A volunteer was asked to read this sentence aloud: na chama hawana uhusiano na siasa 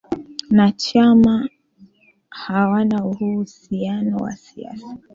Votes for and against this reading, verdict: 3, 2, accepted